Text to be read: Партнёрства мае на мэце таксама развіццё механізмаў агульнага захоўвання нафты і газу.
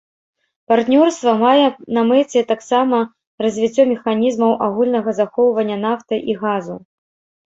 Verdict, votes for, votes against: accepted, 2, 0